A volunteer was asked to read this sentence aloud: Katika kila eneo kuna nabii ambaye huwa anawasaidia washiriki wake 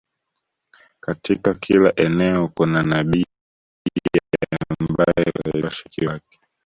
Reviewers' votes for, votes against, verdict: 1, 2, rejected